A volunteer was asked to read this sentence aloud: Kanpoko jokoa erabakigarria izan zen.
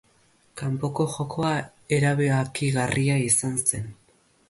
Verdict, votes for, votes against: rejected, 0, 2